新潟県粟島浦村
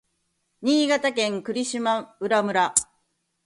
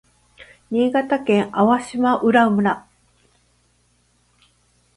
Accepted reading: second